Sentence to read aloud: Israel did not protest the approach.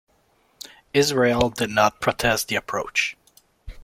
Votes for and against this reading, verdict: 2, 0, accepted